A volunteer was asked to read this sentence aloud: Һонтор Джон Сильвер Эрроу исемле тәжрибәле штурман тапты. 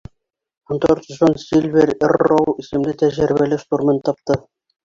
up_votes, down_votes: 3, 1